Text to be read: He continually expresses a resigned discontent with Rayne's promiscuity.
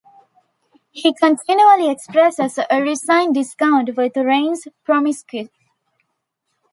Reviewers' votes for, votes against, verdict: 1, 2, rejected